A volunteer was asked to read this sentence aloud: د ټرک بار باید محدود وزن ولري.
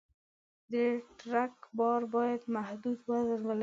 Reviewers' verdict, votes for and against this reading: rejected, 1, 2